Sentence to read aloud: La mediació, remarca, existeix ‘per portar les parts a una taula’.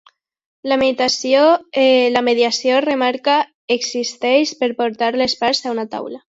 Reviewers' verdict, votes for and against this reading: rejected, 0, 2